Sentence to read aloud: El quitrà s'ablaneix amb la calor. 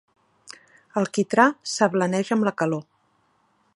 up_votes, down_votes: 3, 0